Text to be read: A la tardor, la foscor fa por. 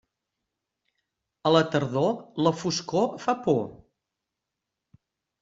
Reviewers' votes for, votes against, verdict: 3, 0, accepted